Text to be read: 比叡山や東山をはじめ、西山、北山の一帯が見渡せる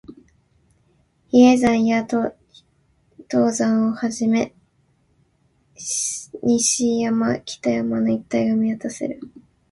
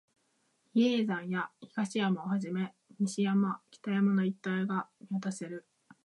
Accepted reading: second